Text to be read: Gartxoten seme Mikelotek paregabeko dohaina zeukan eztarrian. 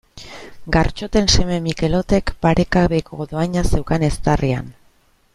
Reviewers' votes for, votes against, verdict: 1, 2, rejected